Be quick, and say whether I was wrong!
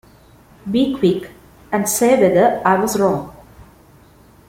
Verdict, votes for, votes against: accepted, 2, 0